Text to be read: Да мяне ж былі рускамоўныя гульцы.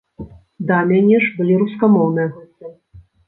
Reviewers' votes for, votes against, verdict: 1, 2, rejected